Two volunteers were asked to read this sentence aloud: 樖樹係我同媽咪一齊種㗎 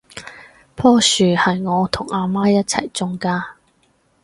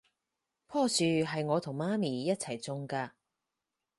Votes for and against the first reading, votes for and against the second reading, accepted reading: 0, 4, 4, 0, second